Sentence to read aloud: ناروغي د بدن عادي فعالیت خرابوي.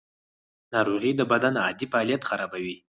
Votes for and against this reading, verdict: 4, 6, rejected